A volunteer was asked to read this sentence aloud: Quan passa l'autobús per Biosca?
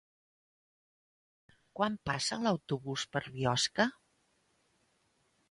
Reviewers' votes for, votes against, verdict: 3, 0, accepted